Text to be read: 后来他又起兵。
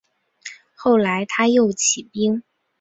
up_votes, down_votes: 4, 0